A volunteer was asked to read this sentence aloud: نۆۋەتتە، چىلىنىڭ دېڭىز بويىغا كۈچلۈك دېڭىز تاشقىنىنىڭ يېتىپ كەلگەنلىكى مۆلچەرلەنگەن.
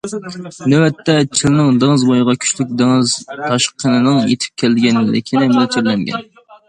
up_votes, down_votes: 0, 2